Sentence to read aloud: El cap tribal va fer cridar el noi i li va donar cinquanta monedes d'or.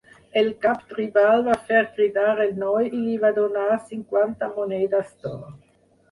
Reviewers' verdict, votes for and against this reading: accepted, 4, 0